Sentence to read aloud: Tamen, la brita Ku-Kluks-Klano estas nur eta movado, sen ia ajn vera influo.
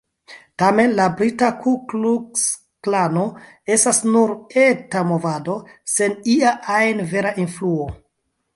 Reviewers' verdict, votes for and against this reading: accepted, 2, 0